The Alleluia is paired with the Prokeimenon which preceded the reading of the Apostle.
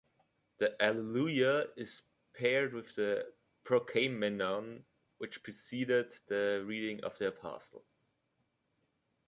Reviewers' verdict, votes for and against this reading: rejected, 0, 2